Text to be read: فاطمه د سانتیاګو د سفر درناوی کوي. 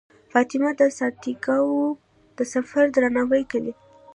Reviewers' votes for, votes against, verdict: 2, 1, accepted